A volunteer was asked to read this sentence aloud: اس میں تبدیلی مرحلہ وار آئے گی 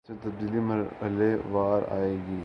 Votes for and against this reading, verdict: 0, 2, rejected